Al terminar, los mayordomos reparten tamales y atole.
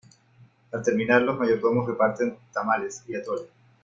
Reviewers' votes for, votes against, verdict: 1, 2, rejected